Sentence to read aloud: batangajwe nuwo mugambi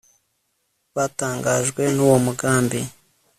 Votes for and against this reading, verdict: 2, 0, accepted